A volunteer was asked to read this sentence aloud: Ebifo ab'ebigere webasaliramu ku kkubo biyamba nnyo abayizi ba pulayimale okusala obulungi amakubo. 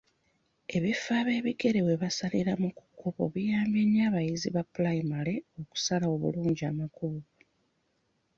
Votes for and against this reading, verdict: 2, 0, accepted